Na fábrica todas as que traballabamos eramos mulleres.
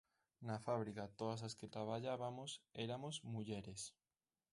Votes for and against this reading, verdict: 0, 3, rejected